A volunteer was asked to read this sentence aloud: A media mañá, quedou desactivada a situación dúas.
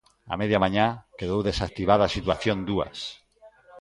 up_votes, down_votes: 2, 0